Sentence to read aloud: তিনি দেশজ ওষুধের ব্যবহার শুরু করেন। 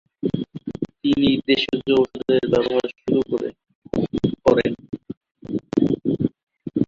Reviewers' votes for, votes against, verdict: 0, 2, rejected